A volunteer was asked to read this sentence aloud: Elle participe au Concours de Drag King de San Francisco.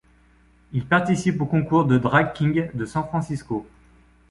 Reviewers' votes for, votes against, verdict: 1, 2, rejected